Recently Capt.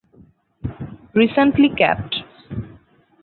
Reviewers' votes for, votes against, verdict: 4, 0, accepted